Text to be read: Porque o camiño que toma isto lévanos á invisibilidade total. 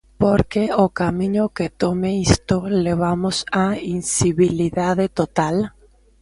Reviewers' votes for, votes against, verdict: 0, 2, rejected